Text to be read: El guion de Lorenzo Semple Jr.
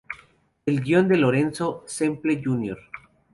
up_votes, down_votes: 6, 0